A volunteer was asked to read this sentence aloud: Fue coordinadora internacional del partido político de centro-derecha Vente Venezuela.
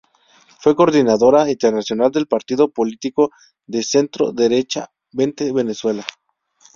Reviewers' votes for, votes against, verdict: 2, 0, accepted